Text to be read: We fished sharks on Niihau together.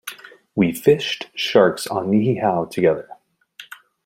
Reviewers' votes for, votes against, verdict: 2, 0, accepted